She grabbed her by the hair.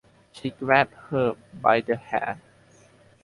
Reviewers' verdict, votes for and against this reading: accepted, 4, 0